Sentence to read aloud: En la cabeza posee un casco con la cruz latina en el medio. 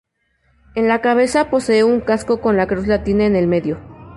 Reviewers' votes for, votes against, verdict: 0, 2, rejected